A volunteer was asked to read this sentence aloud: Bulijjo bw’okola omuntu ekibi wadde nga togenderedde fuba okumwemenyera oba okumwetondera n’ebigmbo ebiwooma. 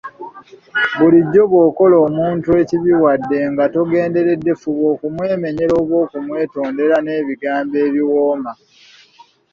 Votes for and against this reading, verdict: 2, 0, accepted